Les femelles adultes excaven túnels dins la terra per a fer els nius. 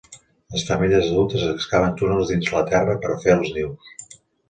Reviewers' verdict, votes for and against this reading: accepted, 2, 0